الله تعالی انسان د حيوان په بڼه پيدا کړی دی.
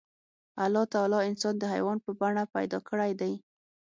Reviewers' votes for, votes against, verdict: 6, 0, accepted